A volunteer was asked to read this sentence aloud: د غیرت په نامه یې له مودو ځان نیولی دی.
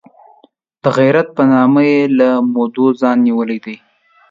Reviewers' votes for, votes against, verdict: 2, 0, accepted